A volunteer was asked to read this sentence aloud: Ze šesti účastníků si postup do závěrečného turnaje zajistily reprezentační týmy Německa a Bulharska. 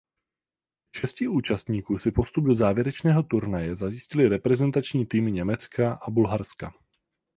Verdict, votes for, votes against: accepted, 4, 0